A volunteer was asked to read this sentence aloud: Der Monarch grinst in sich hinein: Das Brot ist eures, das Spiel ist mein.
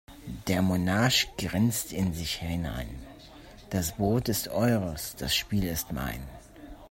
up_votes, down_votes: 2, 0